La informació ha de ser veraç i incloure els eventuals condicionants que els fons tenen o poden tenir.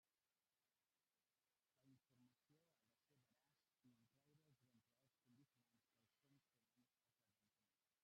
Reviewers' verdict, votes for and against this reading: rejected, 0, 2